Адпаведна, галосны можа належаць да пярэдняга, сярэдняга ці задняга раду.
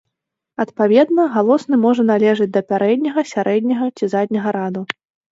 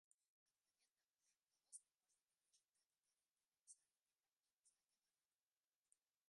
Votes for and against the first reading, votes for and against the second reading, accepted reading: 2, 0, 0, 2, first